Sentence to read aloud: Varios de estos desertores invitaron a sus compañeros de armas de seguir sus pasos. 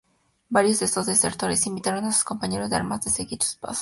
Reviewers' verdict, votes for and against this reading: accepted, 6, 0